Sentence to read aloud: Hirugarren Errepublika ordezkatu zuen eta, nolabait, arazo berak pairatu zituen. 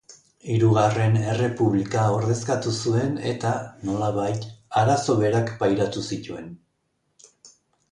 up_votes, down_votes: 2, 0